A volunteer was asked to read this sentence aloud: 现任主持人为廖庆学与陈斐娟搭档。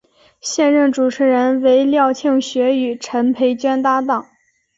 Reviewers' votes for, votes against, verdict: 2, 2, rejected